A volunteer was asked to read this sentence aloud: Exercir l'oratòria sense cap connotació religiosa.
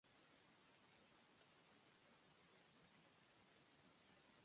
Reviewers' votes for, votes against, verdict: 0, 2, rejected